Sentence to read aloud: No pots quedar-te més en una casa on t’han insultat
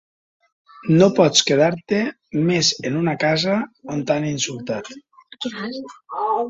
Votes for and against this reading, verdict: 2, 1, accepted